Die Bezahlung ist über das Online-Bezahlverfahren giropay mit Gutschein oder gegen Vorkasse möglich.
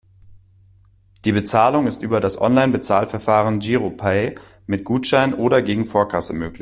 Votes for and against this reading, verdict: 1, 2, rejected